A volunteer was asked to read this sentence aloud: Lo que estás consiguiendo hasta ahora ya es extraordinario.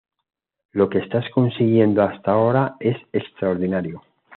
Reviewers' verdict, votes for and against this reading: accepted, 2, 1